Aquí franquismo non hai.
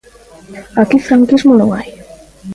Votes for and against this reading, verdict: 2, 0, accepted